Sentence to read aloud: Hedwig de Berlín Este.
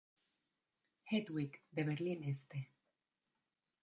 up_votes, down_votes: 2, 1